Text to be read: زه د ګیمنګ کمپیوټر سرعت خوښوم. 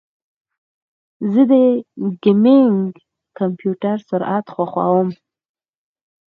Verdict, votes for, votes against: accepted, 4, 0